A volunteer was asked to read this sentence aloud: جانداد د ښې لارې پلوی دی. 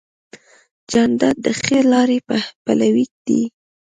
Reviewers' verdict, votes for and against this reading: accepted, 2, 0